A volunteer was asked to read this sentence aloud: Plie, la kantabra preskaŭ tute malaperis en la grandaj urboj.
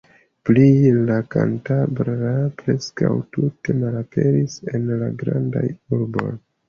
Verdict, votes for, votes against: accepted, 2, 0